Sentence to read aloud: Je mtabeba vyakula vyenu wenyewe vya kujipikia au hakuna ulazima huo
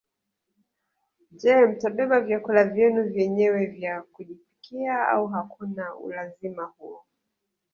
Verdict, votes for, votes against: rejected, 0, 2